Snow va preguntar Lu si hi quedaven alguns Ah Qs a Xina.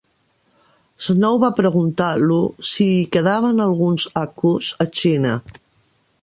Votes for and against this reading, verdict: 0, 2, rejected